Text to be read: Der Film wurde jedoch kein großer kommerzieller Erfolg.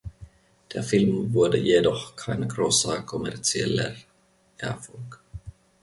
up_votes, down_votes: 2, 0